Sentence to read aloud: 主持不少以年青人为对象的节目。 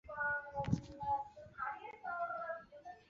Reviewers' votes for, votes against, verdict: 1, 4, rejected